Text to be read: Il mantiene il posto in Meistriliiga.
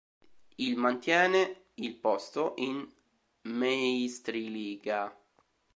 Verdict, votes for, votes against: rejected, 1, 2